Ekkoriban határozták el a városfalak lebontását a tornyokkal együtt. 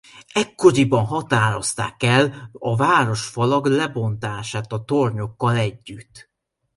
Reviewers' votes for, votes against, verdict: 2, 0, accepted